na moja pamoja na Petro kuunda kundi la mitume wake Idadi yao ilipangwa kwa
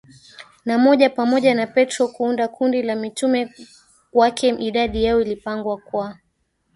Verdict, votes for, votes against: rejected, 1, 2